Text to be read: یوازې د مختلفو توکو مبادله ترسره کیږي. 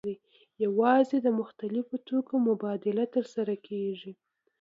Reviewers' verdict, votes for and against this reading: accepted, 2, 0